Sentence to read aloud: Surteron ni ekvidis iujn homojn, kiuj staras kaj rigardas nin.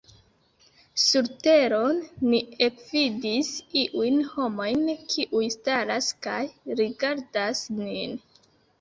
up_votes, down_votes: 2, 0